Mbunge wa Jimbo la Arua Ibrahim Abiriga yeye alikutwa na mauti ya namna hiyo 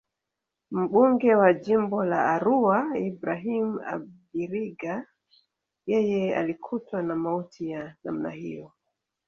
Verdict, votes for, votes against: accepted, 4, 1